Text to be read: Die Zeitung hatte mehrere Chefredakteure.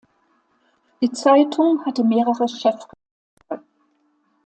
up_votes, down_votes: 0, 2